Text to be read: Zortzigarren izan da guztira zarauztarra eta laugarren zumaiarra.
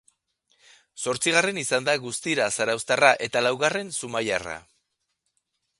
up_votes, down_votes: 2, 0